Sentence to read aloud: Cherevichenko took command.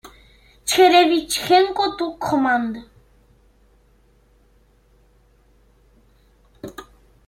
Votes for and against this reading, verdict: 0, 2, rejected